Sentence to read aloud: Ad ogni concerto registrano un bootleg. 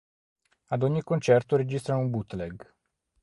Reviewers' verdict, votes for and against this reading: accepted, 4, 0